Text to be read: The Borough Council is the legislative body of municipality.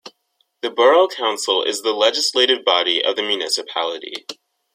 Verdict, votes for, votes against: accepted, 3, 1